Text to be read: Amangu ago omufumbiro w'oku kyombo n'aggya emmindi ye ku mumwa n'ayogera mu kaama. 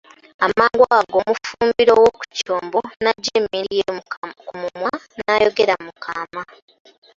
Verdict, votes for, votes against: rejected, 0, 2